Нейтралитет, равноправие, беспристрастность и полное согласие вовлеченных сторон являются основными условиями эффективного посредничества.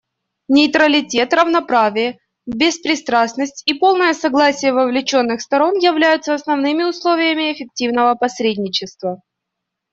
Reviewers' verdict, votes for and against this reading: accepted, 2, 0